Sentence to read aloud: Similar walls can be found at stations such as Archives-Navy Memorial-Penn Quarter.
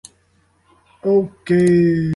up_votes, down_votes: 0, 2